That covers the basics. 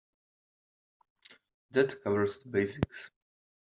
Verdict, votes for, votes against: rejected, 0, 2